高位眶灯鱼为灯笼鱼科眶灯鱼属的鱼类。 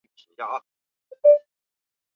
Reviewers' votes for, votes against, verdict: 0, 2, rejected